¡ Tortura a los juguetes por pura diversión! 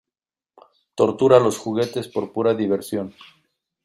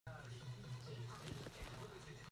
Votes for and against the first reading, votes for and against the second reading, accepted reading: 2, 1, 0, 2, first